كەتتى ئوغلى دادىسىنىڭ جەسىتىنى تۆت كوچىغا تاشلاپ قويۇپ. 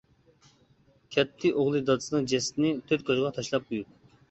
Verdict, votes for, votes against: accepted, 2, 1